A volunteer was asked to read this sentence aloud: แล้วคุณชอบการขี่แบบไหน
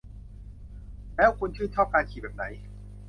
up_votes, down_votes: 0, 2